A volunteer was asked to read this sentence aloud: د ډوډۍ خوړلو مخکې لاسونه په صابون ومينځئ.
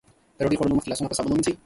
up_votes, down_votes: 2, 0